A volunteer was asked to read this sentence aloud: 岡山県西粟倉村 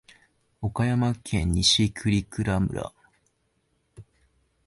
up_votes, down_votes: 5, 4